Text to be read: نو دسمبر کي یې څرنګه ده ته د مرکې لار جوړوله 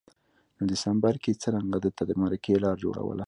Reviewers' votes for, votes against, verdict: 2, 0, accepted